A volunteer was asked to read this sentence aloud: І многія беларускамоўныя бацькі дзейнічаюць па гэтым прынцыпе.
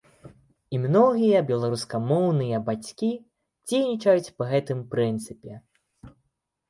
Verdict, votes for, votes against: accepted, 2, 0